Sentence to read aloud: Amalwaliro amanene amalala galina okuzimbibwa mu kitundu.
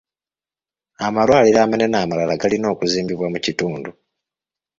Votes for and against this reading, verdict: 2, 1, accepted